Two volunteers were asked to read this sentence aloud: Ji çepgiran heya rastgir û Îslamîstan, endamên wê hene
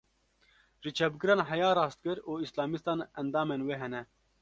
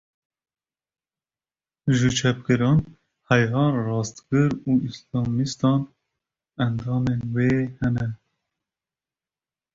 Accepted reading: first